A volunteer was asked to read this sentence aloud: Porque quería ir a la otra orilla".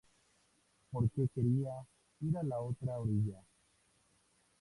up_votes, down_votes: 2, 0